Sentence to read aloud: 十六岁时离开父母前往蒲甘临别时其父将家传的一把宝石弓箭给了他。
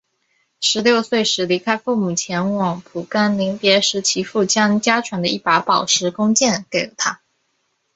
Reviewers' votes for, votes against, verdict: 3, 0, accepted